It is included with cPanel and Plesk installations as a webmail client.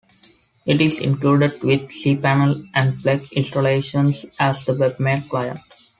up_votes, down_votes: 0, 2